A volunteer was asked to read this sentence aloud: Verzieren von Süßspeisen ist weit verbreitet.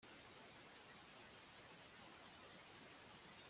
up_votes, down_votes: 0, 2